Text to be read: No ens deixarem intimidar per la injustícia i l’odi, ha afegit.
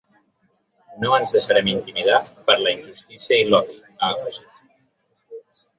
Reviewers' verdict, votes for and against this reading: rejected, 0, 2